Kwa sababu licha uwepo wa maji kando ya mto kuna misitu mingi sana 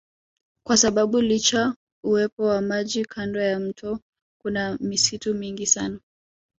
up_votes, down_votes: 1, 2